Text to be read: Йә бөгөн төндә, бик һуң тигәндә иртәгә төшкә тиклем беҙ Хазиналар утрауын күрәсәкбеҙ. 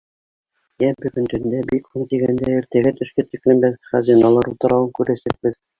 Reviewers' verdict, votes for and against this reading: rejected, 0, 3